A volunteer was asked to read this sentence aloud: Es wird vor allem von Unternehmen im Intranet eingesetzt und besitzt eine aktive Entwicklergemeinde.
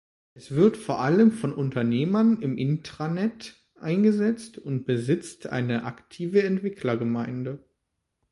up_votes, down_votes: 1, 2